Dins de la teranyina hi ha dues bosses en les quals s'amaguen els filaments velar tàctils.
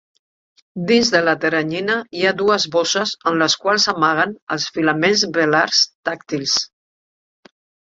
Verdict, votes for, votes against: rejected, 1, 3